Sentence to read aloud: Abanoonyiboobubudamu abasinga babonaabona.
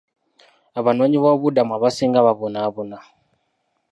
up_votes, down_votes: 0, 2